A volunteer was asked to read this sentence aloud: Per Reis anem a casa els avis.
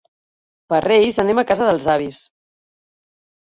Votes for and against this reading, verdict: 1, 2, rejected